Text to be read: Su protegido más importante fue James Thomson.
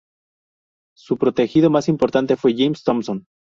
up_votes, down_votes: 2, 0